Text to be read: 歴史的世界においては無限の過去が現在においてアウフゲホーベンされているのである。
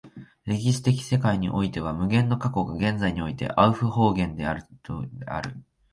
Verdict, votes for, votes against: rejected, 1, 2